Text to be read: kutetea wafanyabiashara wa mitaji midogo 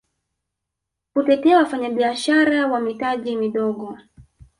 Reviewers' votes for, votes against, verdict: 2, 1, accepted